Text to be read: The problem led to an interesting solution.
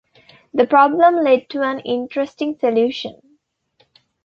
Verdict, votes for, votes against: accepted, 2, 0